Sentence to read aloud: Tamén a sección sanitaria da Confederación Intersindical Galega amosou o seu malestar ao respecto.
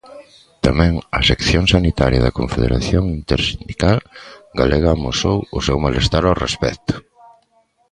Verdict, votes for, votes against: accepted, 2, 0